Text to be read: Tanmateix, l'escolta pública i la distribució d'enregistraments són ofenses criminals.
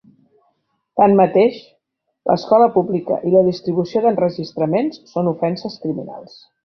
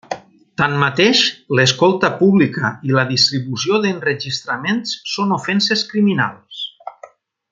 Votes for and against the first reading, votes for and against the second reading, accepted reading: 1, 2, 2, 0, second